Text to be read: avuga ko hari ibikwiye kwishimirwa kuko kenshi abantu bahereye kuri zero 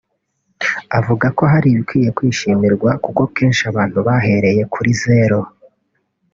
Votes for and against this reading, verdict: 0, 2, rejected